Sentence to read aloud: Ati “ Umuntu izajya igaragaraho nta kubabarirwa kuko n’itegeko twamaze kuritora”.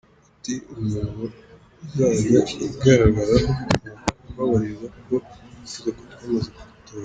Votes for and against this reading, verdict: 0, 3, rejected